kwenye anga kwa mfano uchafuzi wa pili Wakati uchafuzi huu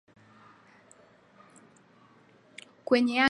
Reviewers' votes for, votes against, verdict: 0, 2, rejected